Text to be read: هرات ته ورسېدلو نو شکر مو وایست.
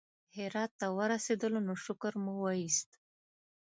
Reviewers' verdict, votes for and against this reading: accepted, 3, 0